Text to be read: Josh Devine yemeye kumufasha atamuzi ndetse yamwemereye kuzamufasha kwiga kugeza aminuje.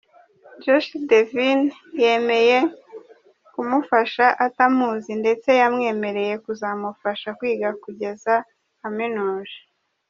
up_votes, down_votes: 0, 2